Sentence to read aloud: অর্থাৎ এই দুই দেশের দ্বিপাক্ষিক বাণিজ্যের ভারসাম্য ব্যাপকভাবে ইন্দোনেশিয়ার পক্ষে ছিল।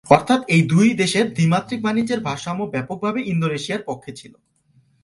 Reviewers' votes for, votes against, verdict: 0, 3, rejected